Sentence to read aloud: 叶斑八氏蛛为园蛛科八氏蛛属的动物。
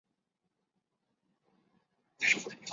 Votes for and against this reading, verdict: 0, 2, rejected